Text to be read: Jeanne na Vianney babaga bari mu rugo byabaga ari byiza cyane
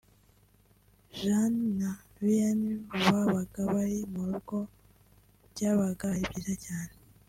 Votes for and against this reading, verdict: 2, 0, accepted